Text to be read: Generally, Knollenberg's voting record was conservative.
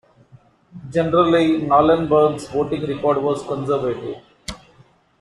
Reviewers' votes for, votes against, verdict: 0, 2, rejected